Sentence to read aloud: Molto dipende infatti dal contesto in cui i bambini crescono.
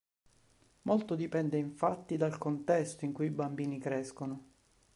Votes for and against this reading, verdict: 2, 0, accepted